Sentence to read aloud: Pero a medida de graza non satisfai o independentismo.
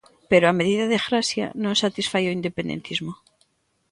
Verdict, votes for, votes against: rejected, 1, 2